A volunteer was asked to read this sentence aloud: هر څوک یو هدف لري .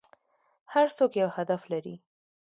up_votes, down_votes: 2, 1